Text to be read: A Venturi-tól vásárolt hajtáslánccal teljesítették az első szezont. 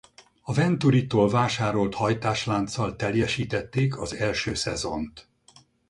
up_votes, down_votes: 2, 2